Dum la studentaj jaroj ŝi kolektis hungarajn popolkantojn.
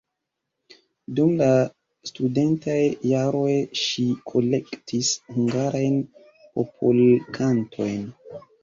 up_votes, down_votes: 2, 0